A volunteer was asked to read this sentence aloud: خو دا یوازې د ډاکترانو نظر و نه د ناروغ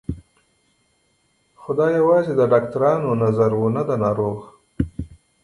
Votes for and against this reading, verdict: 0, 2, rejected